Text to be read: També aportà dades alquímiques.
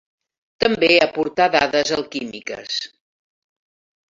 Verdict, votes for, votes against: accepted, 3, 0